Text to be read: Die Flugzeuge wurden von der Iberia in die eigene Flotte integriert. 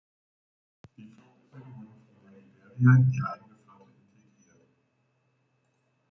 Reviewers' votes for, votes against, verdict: 0, 2, rejected